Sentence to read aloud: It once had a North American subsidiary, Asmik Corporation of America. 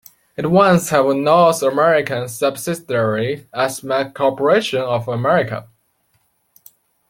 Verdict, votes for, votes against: rejected, 0, 2